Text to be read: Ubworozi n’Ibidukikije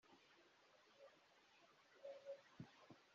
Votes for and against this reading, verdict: 0, 2, rejected